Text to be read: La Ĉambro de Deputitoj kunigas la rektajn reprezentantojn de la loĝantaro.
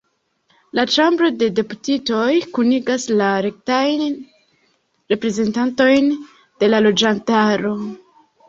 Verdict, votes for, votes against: rejected, 1, 2